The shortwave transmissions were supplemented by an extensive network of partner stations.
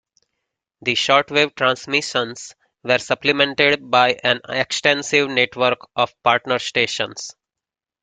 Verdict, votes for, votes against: accepted, 2, 0